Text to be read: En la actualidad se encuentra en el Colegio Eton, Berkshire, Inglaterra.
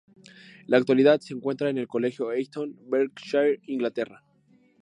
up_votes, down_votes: 0, 2